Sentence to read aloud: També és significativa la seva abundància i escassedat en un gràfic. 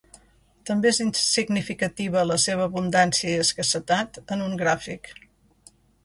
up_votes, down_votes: 0, 2